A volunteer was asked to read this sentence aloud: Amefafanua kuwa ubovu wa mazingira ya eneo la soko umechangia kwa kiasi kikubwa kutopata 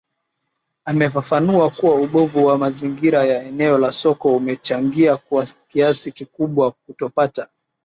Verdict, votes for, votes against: accepted, 2, 0